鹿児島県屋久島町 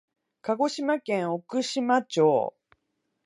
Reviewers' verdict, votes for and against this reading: rejected, 0, 2